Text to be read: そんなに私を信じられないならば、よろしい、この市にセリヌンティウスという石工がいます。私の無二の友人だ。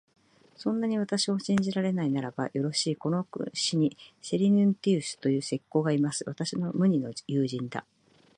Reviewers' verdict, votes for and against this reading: accepted, 2, 0